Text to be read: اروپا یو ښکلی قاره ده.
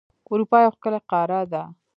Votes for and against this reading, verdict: 3, 0, accepted